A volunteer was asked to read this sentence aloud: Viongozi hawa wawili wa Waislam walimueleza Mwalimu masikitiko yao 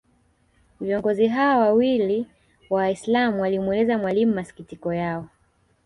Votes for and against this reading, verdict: 1, 2, rejected